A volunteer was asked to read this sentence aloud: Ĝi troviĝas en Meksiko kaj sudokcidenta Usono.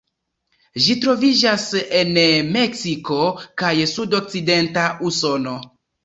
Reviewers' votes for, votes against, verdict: 0, 2, rejected